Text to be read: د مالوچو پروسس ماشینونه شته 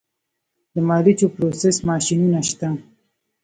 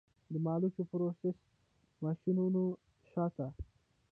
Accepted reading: first